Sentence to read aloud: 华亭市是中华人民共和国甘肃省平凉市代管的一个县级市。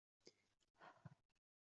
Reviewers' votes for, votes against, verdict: 0, 4, rejected